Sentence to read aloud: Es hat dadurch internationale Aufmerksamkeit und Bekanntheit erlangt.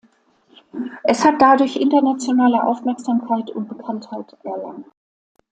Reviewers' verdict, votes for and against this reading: accepted, 2, 1